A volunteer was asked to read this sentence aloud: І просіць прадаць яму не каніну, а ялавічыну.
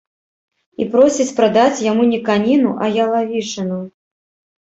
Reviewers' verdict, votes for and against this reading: rejected, 1, 2